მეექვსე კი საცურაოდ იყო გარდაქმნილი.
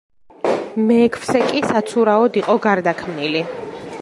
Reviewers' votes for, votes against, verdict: 1, 2, rejected